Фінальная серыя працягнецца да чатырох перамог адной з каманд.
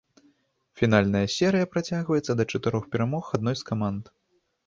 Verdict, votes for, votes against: rejected, 0, 2